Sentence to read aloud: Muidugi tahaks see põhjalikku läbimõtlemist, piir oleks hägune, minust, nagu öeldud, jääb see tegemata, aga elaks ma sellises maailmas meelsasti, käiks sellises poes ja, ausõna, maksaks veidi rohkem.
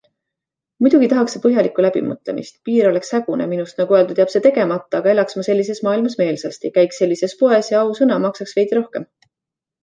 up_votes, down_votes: 2, 0